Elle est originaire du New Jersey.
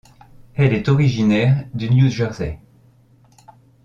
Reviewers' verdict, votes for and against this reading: accepted, 2, 0